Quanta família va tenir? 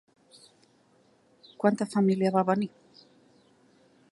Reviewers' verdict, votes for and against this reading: rejected, 0, 2